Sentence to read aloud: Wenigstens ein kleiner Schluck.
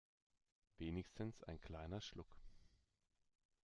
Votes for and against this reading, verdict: 2, 1, accepted